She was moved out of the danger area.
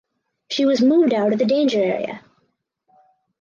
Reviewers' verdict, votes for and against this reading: rejected, 2, 2